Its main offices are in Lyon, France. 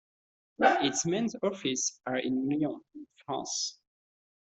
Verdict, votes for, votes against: rejected, 1, 2